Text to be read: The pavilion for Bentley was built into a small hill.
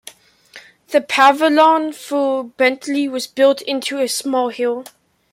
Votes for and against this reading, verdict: 0, 2, rejected